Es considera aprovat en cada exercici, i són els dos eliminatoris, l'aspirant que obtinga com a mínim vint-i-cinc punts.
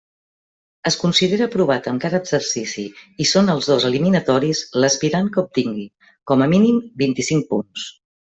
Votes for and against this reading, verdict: 1, 2, rejected